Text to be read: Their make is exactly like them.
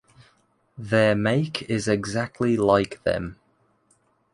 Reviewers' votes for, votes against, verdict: 2, 0, accepted